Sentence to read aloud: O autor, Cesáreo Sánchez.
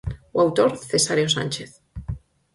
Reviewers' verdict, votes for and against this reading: accepted, 4, 0